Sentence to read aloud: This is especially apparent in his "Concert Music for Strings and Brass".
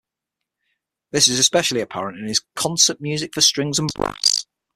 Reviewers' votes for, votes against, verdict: 3, 6, rejected